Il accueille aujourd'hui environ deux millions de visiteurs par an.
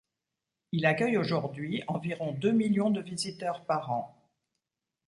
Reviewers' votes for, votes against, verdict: 3, 0, accepted